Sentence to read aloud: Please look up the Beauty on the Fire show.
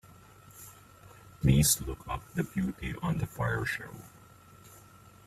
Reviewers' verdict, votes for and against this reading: rejected, 1, 2